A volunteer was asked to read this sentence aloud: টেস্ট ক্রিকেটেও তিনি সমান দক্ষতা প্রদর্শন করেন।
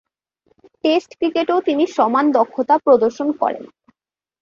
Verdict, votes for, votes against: accepted, 2, 0